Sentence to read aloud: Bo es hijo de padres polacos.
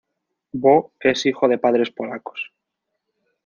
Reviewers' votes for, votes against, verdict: 2, 0, accepted